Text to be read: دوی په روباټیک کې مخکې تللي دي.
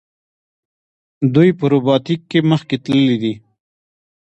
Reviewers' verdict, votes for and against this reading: accepted, 2, 1